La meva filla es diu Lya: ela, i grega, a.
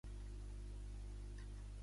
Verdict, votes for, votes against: rejected, 0, 2